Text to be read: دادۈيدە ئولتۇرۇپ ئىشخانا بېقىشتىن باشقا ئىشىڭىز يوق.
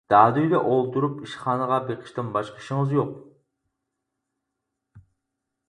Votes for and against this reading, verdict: 0, 4, rejected